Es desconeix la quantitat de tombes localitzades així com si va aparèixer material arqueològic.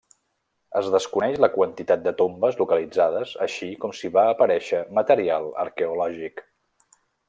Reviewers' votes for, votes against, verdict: 3, 0, accepted